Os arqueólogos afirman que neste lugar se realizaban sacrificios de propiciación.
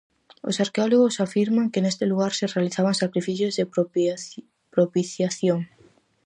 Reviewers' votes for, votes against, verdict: 0, 4, rejected